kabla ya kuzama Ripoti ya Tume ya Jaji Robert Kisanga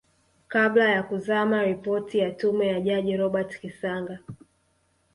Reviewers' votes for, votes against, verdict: 2, 0, accepted